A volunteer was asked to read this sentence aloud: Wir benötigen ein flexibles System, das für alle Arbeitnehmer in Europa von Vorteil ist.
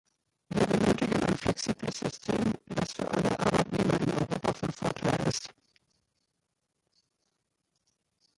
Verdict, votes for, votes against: rejected, 0, 2